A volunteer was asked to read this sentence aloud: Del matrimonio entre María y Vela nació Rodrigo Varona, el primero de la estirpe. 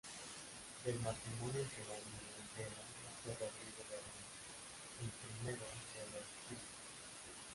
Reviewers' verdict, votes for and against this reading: rejected, 0, 2